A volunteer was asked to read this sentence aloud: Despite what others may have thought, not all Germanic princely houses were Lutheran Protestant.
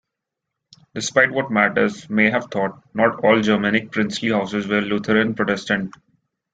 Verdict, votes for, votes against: rejected, 2, 3